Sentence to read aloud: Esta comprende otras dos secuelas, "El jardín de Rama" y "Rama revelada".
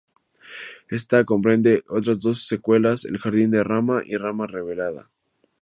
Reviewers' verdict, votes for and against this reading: accepted, 2, 0